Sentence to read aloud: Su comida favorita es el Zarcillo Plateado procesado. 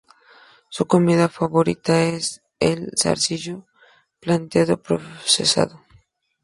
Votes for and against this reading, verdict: 2, 0, accepted